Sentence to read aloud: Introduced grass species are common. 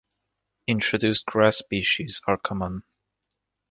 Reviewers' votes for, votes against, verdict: 2, 0, accepted